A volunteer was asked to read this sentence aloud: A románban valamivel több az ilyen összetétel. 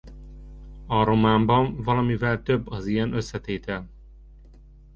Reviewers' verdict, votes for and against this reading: accepted, 2, 0